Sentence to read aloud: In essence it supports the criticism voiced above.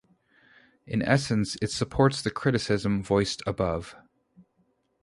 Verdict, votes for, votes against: accepted, 4, 0